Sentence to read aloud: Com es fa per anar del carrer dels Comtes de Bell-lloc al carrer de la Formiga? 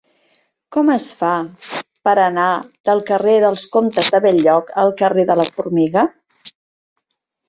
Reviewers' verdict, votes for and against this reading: accepted, 2, 1